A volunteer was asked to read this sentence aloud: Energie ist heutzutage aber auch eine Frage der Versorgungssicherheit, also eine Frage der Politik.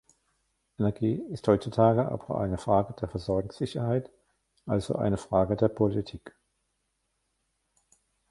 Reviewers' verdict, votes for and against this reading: rejected, 1, 2